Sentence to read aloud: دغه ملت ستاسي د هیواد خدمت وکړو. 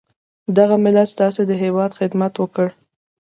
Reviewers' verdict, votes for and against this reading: accepted, 2, 0